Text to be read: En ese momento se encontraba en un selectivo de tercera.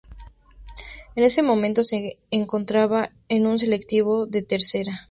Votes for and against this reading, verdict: 2, 0, accepted